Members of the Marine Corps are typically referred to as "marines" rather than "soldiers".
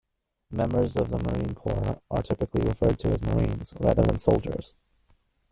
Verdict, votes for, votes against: rejected, 1, 2